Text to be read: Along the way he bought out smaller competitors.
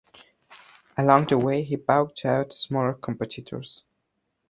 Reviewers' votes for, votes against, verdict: 1, 2, rejected